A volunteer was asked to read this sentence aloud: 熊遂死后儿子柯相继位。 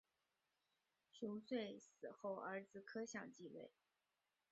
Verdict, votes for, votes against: rejected, 0, 2